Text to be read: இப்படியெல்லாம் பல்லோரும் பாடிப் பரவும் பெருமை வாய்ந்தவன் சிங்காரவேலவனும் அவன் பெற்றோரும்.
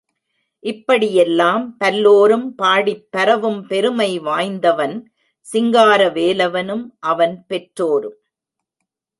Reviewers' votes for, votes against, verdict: 2, 0, accepted